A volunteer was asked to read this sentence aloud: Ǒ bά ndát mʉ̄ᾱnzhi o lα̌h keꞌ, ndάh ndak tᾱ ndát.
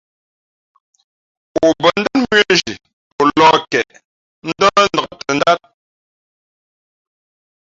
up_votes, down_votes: 1, 2